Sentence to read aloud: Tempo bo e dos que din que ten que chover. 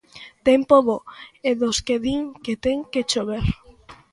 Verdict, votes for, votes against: accepted, 2, 0